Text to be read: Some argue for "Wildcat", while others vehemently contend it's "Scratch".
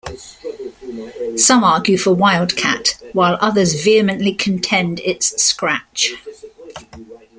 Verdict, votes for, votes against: rejected, 1, 2